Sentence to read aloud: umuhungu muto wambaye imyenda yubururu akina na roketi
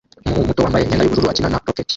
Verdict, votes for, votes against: rejected, 0, 2